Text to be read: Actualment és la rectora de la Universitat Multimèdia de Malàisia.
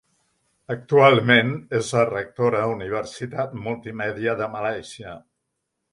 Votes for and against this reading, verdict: 0, 2, rejected